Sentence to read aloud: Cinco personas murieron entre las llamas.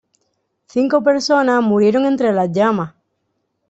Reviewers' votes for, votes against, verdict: 1, 2, rejected